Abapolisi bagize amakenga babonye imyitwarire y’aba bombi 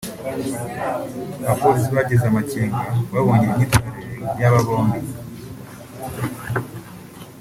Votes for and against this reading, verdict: 0, 2, rejected